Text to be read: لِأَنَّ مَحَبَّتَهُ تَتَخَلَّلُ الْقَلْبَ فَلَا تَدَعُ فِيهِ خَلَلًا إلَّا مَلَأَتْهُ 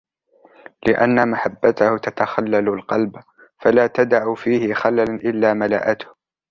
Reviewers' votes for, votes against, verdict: 2, 0, accepted